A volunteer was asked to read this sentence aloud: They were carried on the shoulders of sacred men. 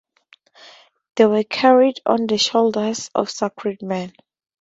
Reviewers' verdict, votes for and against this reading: accepted, 2, 0